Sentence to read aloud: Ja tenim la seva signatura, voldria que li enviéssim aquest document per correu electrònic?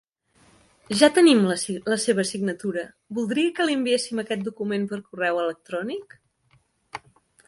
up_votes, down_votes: 0, 4